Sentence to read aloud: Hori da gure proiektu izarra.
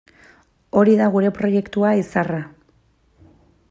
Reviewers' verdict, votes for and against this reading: rejected, 0, 2